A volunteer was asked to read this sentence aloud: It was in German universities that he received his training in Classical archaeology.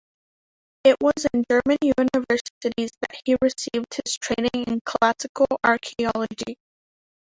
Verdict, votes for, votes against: rejected, 0, 2